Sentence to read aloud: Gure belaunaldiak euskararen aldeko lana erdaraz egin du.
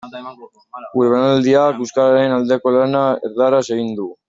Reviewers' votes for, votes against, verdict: 0, 2, rejected